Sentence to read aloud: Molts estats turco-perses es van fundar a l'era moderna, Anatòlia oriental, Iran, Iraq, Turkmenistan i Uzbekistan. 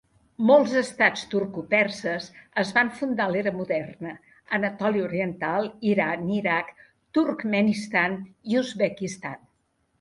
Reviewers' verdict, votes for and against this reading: accepted, 2, 0